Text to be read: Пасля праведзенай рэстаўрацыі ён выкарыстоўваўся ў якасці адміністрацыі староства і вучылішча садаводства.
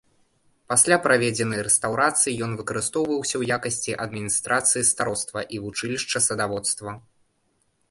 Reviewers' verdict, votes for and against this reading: accepted, 2, 0